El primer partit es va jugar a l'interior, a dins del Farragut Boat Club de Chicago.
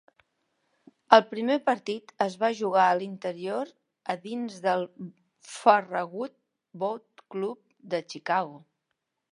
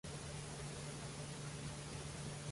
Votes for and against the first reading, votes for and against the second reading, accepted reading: 2, 0, 0, 2, first